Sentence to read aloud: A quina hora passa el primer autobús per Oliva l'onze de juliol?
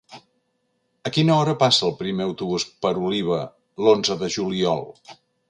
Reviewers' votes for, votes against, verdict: 2, 0, accepted